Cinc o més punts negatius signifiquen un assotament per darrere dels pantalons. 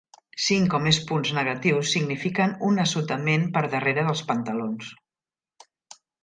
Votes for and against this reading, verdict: 3, 0, accepted